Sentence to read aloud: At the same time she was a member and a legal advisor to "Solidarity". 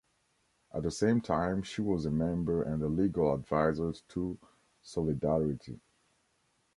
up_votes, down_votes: 0, 2